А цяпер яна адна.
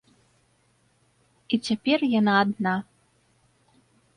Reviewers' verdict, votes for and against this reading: rejected, 0, 2